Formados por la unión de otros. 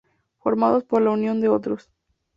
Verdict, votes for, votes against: accepted, 2, 0